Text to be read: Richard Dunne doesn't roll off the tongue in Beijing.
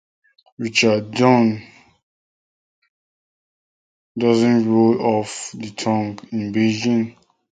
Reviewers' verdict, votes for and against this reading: rejected, 0, 2